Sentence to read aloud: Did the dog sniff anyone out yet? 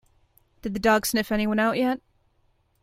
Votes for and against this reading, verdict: 2, 0, accepted